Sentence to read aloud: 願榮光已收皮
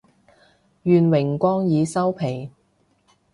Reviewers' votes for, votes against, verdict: 2, 0, accepted